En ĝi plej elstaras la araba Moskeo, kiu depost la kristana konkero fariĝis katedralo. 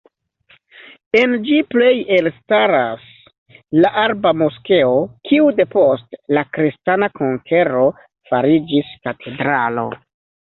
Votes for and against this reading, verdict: 0, 2, rejected